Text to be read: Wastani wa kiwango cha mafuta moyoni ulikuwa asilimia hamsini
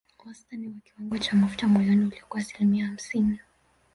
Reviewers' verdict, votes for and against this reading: rejected, 0, 2